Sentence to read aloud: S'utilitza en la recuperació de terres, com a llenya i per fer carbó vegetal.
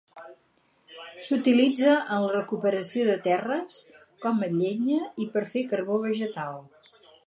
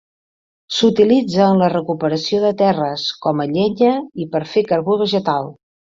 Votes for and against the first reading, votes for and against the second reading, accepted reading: 2, 4, 4, 0, second